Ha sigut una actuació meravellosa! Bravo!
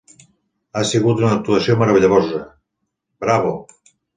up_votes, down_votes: 2, 4